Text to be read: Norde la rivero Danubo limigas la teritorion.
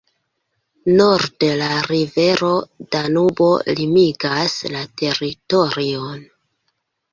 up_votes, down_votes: 0, 3